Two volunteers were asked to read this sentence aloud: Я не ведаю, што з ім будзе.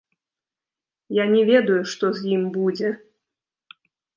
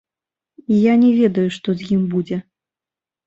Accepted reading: second